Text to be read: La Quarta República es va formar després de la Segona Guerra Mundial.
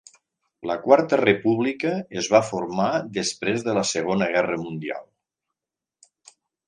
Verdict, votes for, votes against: accepted, 3, 0